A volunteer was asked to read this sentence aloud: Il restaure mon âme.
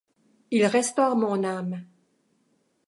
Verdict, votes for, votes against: accepted, 2, 0